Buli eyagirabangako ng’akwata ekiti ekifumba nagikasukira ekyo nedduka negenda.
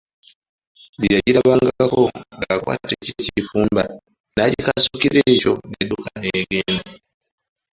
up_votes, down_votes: 0, 2